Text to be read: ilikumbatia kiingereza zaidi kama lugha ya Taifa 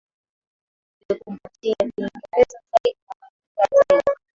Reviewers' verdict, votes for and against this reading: rejected, 0, 2